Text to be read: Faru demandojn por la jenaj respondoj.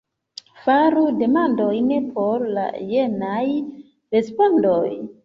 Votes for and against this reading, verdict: 1, 2, rejected